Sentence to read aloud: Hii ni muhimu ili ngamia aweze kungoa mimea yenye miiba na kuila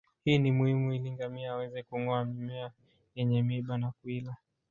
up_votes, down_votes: 0, 2